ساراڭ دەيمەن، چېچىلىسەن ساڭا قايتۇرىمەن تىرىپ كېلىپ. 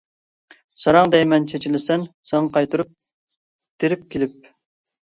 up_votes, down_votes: 0, 2